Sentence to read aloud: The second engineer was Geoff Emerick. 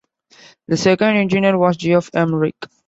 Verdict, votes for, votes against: accepted, 2, 1